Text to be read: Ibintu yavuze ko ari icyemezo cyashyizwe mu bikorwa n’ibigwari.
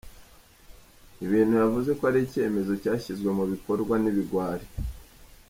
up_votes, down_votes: 1, 2